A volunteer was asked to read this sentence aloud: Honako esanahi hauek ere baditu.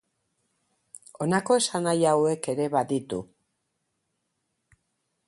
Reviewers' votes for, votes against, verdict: 4, 0, accepted